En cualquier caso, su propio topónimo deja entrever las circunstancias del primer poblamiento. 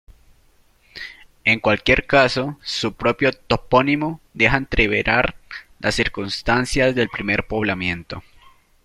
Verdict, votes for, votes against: rejected, 0, 2